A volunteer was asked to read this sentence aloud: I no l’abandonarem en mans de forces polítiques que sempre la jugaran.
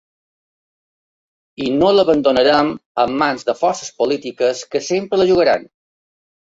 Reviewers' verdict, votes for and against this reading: rejected, 1, 2